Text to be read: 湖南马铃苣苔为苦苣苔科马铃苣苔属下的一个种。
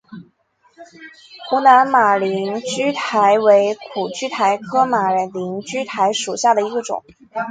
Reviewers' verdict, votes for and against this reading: accepted, 2, 0